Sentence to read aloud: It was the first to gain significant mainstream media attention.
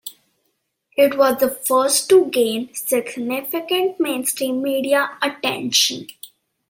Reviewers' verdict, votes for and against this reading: accepted, 2, 0